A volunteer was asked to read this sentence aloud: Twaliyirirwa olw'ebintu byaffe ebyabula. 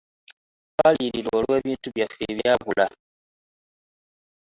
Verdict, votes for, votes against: accepted, 2, 0